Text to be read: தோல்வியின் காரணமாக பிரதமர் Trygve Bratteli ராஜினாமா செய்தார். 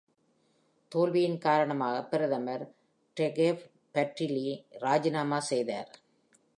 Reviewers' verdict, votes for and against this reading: accepted, 2, 0